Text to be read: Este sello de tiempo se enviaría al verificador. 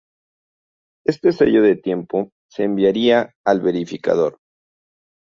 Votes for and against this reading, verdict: 0, 2, rejected